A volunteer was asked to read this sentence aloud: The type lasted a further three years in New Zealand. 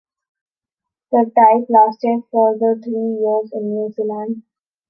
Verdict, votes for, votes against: rejected, 0, 2